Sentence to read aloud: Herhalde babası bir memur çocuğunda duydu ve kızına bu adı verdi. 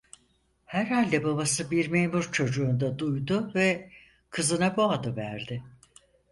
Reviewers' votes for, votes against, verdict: 4, 0, accepted